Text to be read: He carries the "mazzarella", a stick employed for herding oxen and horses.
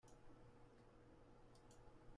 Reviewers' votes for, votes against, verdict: 0, 2, rejected